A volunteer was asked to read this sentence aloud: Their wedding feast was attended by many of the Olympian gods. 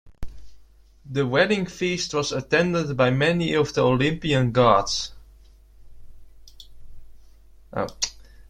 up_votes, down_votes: 2, 0